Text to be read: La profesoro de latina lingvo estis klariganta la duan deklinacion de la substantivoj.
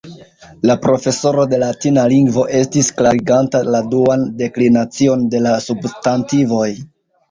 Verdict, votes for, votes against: rejected, 1, 2